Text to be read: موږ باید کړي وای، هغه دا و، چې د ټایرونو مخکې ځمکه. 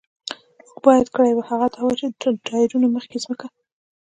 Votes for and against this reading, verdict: 2, 0, accepted